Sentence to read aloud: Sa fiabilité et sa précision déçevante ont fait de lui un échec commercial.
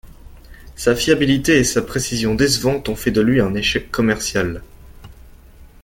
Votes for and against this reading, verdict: 1, 2, rejected